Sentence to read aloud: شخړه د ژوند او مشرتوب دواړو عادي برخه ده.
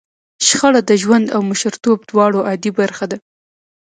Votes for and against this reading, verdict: 2, 0, accepted